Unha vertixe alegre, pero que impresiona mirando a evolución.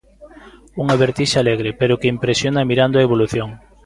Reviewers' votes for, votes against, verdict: 2, 0, accepted